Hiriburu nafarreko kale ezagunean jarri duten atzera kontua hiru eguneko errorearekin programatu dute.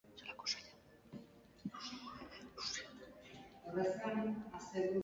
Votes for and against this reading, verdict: 0, 2, rejected